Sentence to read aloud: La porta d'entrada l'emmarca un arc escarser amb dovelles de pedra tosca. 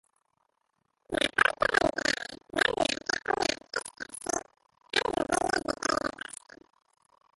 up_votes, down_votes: 0, 2